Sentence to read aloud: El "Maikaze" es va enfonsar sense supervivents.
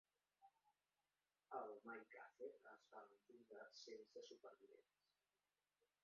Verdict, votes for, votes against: rejected, 2, 4